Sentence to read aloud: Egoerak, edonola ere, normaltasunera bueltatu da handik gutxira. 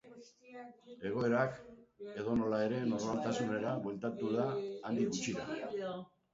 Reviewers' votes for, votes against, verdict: 0, 3, rejected